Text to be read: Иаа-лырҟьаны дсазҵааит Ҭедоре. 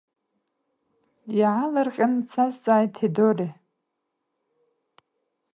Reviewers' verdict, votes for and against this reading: rejected, 1, 2